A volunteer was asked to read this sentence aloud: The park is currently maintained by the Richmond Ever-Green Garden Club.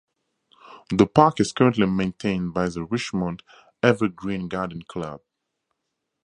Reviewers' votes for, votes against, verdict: 4, 2, accepted